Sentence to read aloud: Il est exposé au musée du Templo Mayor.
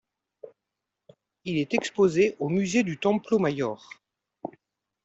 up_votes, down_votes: 2, 0